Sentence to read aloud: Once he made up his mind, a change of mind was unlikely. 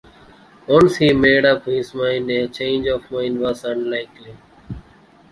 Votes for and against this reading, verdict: 0, 2, rejected